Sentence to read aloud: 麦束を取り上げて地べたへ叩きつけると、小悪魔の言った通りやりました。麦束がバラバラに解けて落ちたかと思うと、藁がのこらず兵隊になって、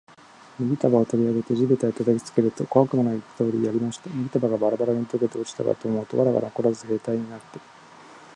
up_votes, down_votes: 2, 0